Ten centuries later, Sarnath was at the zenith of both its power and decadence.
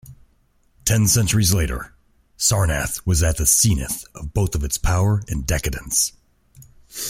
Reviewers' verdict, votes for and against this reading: rejected, 0, 2